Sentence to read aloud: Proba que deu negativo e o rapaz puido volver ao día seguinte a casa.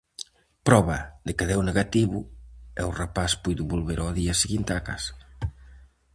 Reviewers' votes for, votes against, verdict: 2, 2, rejected